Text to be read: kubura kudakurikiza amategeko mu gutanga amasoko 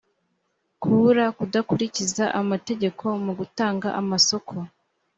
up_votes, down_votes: 3, 0